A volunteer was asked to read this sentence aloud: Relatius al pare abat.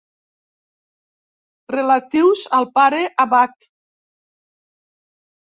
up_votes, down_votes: 2, 0